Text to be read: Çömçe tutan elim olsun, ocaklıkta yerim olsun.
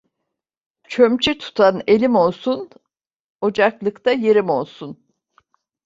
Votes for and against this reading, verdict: 2, 0, accepted